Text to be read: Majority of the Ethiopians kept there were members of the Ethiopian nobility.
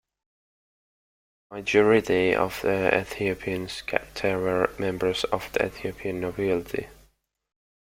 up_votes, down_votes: 3, 2